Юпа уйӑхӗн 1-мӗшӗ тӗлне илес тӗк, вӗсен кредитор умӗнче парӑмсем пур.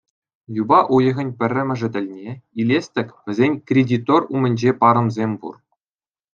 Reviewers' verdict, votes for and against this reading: rejected, 0, 2